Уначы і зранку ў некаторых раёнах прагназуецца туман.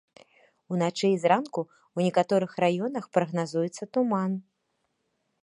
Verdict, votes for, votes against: accepted, 3, 1